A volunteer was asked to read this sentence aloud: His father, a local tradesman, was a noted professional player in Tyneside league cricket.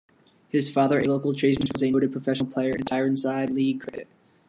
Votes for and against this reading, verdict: 1, 2, rejected